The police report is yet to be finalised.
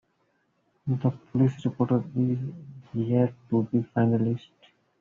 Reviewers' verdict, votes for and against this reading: rejected, 0, 2